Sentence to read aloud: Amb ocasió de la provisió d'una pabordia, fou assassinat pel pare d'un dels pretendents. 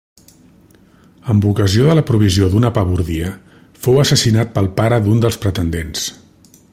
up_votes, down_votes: 2, 0